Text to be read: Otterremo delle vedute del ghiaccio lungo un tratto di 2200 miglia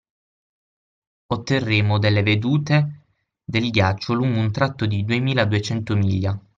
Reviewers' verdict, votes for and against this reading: rejected, 0, 2